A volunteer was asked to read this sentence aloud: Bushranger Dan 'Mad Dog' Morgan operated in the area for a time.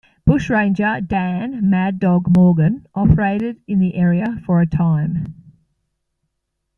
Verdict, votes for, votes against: accepted, 2, 1